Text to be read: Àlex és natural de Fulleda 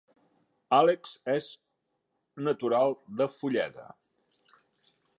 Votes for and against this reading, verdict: 3, 0, accepted